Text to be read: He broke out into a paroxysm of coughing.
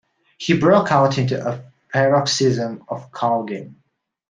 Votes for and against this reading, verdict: 0, 2, rejected